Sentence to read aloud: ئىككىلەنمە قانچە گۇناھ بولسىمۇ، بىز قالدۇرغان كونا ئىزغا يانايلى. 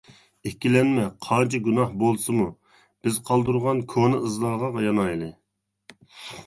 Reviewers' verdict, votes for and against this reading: rejected, 0, 2